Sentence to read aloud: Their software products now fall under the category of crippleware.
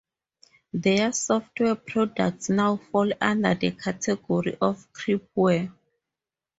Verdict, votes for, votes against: accepted, 2, 0